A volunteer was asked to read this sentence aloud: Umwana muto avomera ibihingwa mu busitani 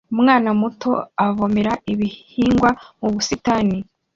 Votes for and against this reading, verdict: 2, 0, accepted